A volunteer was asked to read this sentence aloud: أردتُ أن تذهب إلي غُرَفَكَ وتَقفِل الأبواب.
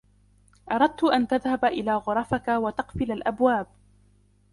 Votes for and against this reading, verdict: 0, 2, rejected